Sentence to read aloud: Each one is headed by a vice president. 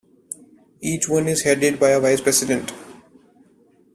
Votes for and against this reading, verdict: 2, 0, accepted